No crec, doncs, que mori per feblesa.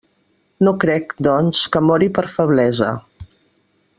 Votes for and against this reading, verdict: 3, 0, accepted